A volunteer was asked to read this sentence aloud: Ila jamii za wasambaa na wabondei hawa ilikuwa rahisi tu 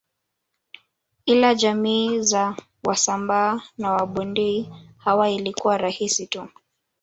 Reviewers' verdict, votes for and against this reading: rejected, 1, 2